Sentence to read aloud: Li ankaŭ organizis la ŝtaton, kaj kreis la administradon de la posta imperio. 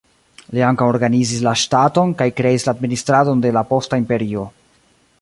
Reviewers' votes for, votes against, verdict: 2, 0, accepted